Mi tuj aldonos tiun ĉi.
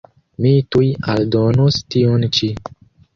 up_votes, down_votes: 1, 2